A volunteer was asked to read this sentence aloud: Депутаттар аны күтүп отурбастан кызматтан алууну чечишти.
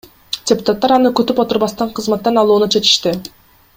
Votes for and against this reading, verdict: 2, 0, accepted